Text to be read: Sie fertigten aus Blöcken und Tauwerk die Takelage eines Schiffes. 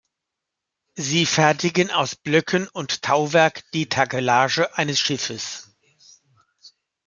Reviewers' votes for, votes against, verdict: 1, 2, rejected